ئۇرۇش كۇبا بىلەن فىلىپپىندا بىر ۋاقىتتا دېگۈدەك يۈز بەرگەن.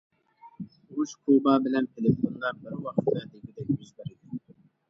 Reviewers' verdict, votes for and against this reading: rejected, 0, 2